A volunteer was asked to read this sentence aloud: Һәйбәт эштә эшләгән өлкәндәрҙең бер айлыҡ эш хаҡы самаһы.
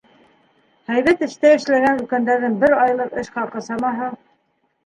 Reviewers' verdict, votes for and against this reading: rejected, 1, 2